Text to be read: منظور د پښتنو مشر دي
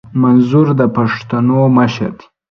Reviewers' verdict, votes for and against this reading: accepted, 2, 0